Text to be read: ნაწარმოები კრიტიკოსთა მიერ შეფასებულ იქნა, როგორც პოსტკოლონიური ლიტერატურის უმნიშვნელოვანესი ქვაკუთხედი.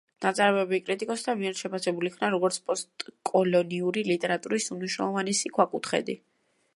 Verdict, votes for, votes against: rejected, 1, 2